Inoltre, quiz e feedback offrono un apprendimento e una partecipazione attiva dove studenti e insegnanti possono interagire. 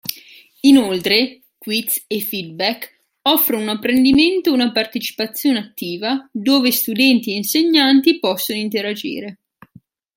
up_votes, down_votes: 2, 0